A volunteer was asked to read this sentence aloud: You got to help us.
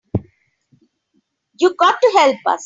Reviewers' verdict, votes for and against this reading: accepted, 3, 0